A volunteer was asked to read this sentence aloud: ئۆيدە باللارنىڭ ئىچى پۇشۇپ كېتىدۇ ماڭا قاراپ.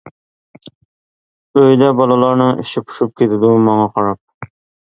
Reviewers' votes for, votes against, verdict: 2, 0, accepted